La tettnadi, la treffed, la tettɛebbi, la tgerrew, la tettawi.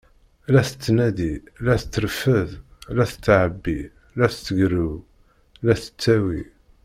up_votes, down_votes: 1, 2